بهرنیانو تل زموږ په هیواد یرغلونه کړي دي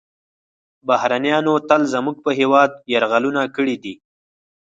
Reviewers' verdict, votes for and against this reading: accepted, 4, 0